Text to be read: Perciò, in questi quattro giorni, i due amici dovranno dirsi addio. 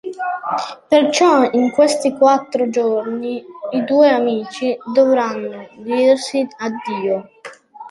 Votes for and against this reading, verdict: 2, 0, accepted